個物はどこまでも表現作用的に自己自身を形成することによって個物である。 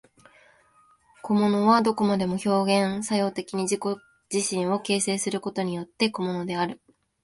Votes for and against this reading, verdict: 13, 3, accepted